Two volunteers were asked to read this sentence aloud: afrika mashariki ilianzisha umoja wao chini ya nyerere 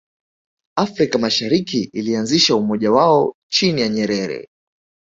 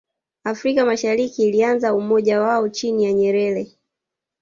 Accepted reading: first